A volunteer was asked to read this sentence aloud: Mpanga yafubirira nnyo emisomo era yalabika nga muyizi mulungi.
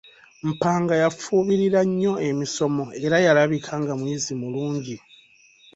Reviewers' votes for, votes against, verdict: 3, 1, accepted